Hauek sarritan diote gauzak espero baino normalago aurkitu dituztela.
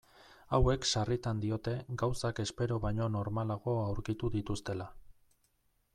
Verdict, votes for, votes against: accepted, 2, 0